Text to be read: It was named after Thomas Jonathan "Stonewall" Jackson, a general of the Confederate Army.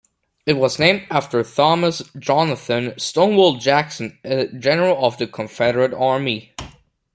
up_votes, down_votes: 2, 1